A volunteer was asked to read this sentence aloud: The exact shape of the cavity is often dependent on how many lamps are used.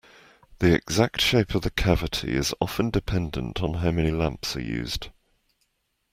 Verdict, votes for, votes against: accepted, 2, 0